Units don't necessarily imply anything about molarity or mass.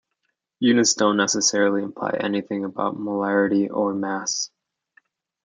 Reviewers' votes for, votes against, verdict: 2, 0, accepted